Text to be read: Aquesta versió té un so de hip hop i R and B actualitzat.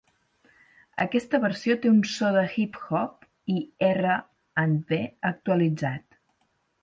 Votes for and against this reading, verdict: 6, 2, accepted